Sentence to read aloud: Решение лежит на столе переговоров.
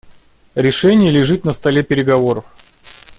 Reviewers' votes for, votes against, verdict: 2, 0, accepted